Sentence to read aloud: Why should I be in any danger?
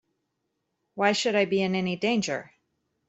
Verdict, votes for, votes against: accepted, 2, 0